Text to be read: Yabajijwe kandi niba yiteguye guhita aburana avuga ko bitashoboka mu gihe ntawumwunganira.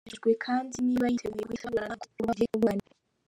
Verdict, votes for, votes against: rejected, 0, 2